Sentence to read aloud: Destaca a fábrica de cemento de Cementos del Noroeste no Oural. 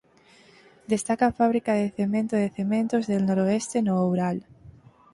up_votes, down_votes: 4, 0